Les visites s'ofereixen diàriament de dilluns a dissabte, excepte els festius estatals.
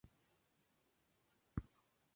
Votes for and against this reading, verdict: 0, 2, rejected